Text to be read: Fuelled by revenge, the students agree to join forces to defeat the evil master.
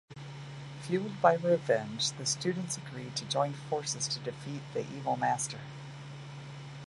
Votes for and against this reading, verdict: 2, 0, accepted